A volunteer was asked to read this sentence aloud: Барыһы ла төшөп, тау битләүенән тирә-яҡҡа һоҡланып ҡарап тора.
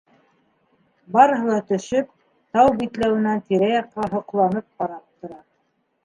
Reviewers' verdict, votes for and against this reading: accepted, 2, 1